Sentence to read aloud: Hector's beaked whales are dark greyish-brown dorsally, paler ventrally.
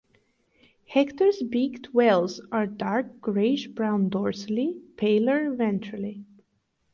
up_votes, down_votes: 2, 2